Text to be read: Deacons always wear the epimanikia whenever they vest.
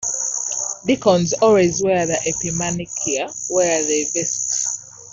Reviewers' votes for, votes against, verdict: 1, 2, rejected